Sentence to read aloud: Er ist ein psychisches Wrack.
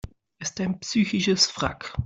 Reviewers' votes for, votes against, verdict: 0, 2, rejected